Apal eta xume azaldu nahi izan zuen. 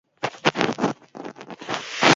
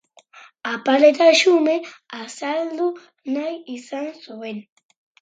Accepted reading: second